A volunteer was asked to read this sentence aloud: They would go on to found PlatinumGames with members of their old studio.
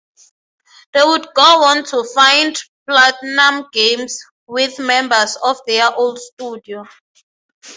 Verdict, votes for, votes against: accepted, 3, 0